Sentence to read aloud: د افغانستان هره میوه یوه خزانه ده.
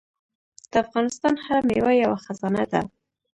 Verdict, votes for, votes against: rejected, 0, 2